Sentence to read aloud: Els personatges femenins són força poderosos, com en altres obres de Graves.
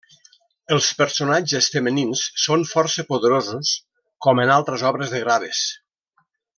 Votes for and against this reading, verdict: 1, 2, rejected